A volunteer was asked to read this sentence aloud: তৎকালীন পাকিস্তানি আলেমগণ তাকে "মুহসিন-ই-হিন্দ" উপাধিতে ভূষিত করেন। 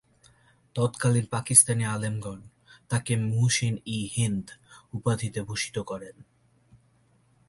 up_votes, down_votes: 2, 0